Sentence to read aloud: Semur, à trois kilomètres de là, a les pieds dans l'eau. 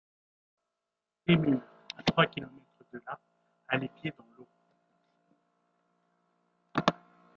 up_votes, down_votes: 0, 3